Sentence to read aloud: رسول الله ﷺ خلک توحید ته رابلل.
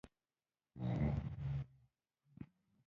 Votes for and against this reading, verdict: 0, 2, rejected